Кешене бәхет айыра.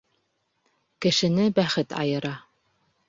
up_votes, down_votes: 2, 0